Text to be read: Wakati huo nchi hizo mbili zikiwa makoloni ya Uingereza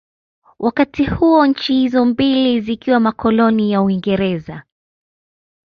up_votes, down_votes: 1, 2